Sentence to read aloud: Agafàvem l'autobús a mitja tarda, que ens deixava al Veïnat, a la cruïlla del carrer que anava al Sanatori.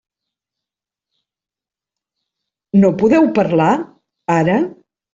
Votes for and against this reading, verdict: 0, 2, rejected